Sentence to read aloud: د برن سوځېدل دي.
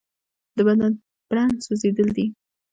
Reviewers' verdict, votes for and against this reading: rejected, 0, 2